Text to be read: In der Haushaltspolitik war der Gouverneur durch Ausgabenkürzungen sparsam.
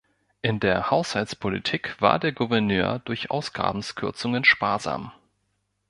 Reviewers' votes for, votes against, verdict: 0, 2, rejected